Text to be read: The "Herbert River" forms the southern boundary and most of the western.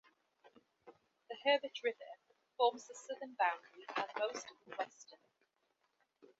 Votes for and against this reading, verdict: 2, 0, accepted